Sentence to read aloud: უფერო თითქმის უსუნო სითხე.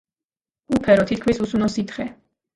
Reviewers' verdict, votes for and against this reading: accepted, 2, 0